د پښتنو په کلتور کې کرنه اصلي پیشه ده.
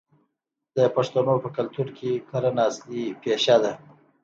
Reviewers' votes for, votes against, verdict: 2, 0, accepted